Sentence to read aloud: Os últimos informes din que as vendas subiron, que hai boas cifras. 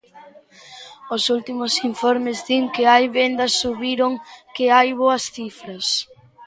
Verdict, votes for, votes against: rejected, 0, 2